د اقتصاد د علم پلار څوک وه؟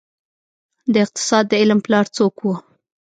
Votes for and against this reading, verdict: 2, 0, accepted